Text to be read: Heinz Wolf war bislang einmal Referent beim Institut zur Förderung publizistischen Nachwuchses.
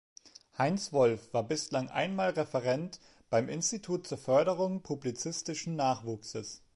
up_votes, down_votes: 2, 0